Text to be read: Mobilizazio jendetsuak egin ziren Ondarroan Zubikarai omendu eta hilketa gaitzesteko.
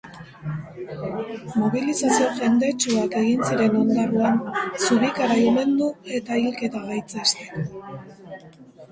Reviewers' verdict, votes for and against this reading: rejected, 1, 2